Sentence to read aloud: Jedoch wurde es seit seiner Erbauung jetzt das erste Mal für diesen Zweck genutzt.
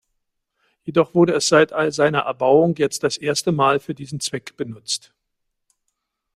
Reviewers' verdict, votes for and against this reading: accepted, 2, 0